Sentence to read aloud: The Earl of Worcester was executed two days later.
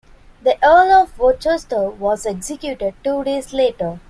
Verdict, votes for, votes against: rejected, 1, 2